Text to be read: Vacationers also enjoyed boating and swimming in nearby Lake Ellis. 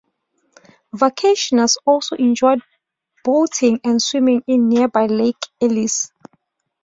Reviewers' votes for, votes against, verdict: 2, 0, accepted